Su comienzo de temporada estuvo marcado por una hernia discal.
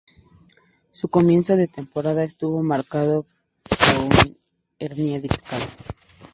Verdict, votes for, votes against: rejected, 0, 2